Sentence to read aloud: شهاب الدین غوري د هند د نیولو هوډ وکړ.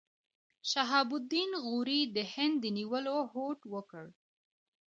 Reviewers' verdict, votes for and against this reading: accepted, 2, 0